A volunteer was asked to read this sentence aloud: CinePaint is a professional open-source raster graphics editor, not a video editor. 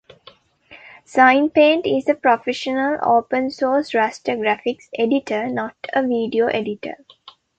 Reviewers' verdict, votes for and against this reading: rejected, 0, 2